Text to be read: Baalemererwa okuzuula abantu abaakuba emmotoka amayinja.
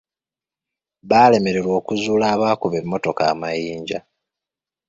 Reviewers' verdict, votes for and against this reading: rejected, 1, 2